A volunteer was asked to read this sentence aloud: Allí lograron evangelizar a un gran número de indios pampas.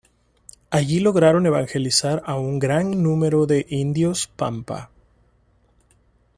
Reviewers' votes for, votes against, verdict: 0, 2, rejected